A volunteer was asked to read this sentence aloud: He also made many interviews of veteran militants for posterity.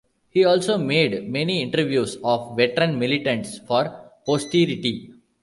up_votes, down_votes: 1, 2